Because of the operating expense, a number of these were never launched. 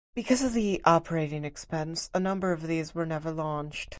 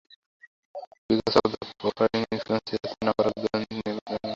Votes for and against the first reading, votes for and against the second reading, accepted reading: 4, 0, 0, 2, first